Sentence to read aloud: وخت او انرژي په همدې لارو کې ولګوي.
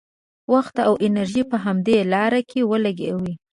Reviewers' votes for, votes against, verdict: 2, 0, accepted